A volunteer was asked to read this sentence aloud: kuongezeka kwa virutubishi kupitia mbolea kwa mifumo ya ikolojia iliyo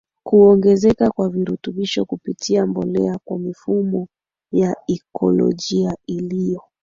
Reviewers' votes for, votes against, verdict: 2, 1, accepted